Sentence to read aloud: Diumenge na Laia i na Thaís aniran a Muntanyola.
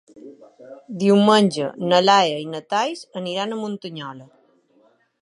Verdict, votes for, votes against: rejected, 0, 2